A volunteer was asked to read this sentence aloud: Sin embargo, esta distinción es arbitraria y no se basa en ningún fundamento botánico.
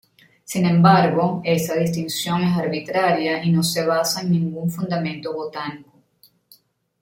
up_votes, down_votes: 0, 2